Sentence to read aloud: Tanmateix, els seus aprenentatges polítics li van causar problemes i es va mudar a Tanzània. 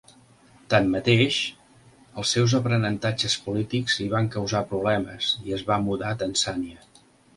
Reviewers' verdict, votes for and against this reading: accepted, 4, 0